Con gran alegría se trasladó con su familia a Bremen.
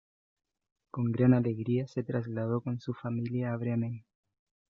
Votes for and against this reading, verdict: 2, 0, accepted